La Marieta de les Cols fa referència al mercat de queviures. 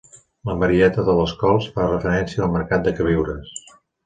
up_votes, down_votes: 2, 0